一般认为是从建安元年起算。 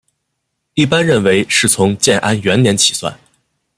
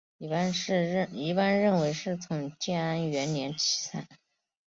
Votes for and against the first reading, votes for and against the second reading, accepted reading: 2, 0, 0, 4, first